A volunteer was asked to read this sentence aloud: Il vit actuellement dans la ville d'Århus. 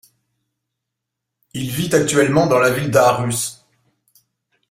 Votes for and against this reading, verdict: 2, 1, accepted